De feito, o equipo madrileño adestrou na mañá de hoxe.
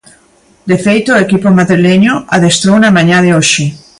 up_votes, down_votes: 2, 0